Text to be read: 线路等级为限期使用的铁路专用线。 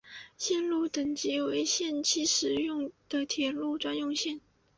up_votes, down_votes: 2, 0